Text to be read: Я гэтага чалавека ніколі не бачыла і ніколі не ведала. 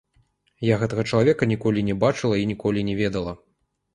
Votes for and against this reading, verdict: 0, 2, rejected